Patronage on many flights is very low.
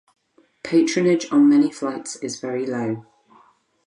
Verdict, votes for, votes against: accepted, 4, 0